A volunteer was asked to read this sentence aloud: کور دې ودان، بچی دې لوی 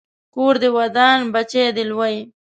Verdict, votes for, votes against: accepted, 2, 0